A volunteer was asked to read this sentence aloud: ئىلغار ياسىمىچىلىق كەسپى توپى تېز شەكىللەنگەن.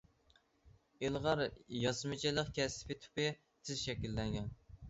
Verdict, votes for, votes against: rejected, 0, 2